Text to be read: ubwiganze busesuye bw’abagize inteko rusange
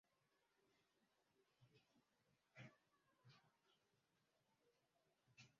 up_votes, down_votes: 0, 2